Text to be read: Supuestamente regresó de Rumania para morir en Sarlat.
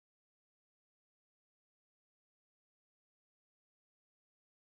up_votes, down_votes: 0, 2